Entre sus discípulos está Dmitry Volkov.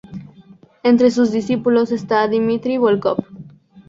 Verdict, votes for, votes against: rejected, 2, 2